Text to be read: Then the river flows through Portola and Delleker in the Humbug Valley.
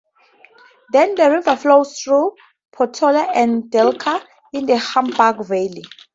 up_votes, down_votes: 2, 0